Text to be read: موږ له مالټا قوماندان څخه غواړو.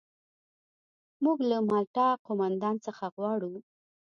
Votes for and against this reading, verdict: 2, 0, accepted